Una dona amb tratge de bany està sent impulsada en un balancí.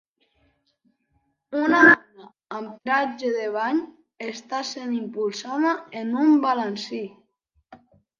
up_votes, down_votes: 1, 2